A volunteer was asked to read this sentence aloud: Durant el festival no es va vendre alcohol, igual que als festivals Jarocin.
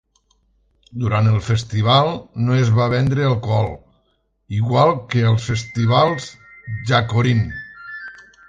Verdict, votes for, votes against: rejected, 0, 2